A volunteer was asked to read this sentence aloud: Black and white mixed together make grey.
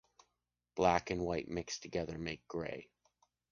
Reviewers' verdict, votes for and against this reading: accepted, 2, 0